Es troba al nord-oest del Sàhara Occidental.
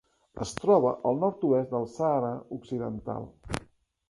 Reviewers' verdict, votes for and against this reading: accepted, 2, 0